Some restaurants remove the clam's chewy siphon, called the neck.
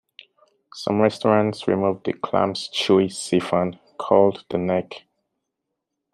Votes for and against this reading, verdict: 0, 2, rejected